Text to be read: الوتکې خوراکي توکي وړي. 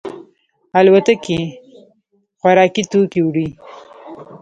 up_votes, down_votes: 2, 1